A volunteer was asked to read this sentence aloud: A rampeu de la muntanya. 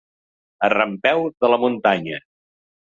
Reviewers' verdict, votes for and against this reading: accepted, 2, 0